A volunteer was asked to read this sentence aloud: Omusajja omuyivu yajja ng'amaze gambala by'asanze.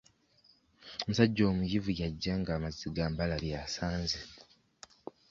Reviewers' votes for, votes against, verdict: 2, 1, accepted